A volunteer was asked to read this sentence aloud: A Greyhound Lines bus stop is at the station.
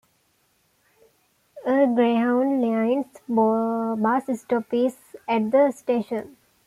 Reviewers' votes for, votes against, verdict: 1, 2, rejected